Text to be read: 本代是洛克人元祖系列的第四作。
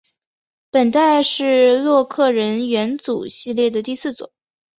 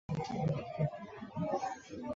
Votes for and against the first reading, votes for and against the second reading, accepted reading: 3, 0, 0, 2, first